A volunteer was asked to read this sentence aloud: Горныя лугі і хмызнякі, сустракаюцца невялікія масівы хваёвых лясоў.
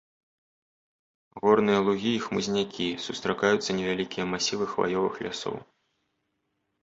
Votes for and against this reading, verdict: 2, 0, accepted